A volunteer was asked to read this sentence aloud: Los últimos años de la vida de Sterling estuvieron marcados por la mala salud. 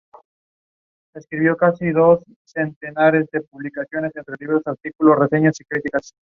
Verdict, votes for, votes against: rejected, 0, 4